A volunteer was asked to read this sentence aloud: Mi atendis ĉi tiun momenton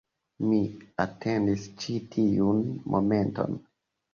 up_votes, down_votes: 2, 0